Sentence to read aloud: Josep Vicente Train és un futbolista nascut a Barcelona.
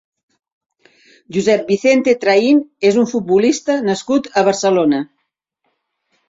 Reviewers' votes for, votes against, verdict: 3, 0, accepted